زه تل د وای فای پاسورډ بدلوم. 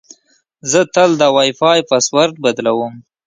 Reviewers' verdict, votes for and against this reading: accepted, 2, 0